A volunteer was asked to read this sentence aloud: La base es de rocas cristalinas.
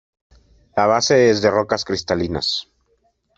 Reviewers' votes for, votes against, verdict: 2, 0, accepted